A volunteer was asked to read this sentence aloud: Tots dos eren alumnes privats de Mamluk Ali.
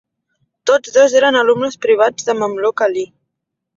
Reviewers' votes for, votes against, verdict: 4, 0, accepted